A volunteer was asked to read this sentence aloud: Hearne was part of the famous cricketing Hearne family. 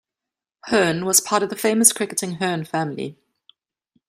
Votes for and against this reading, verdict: 2, 0, accepted